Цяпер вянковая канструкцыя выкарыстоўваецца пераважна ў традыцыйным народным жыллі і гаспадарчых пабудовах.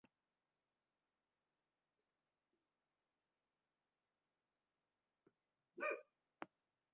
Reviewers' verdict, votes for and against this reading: rejected, 0, 2